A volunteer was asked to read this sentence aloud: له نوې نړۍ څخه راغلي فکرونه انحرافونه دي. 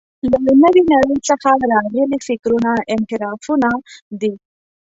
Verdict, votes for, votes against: rejected, 0, 2